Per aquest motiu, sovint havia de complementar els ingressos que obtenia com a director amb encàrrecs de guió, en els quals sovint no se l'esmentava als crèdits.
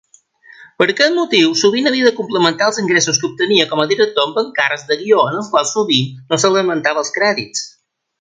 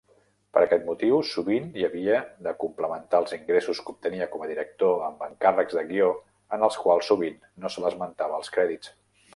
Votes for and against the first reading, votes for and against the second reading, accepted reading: 2, 0, 1, 2, first